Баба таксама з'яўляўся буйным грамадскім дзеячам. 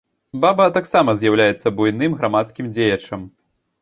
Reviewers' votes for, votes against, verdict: 0, 2, rejected